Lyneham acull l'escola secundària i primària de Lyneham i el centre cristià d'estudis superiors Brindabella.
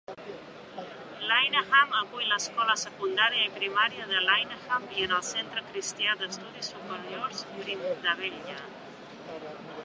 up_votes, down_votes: 1, 2